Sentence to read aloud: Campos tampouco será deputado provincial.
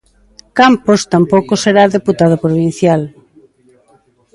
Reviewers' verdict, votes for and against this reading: accepted, 2, 0